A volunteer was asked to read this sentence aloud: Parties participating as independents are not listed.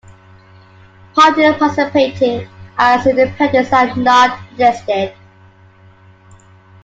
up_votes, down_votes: 0, 2